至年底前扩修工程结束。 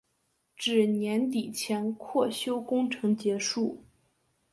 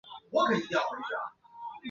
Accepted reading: first